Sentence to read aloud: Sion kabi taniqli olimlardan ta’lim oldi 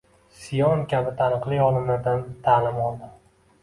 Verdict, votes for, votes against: accepted, 2, 0